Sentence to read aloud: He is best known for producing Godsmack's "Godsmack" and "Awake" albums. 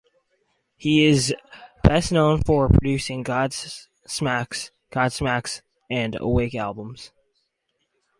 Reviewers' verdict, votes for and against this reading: rejected, 2, 4